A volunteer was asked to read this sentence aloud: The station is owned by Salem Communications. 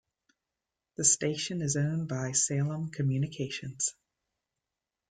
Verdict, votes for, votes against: accepted, 2, 0